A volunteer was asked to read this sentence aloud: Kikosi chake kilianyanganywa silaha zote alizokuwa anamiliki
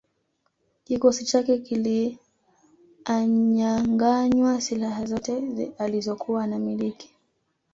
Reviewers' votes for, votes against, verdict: 1, 2, rejected